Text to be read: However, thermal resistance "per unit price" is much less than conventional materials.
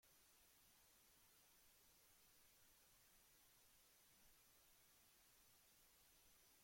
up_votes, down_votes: 0, 2